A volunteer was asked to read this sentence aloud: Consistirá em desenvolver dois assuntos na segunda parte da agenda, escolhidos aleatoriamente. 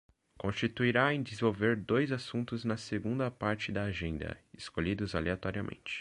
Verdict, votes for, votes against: rejected, 1, 2